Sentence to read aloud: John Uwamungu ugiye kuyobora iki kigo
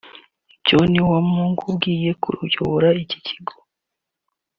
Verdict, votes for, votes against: accepted, 2, 1